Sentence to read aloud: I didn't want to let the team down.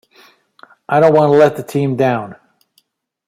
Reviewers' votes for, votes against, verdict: 1, 2, rejected